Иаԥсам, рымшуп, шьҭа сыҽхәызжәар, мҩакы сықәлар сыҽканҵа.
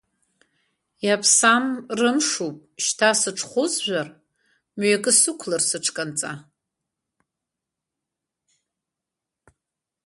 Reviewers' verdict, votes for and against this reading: accepted, 2, 0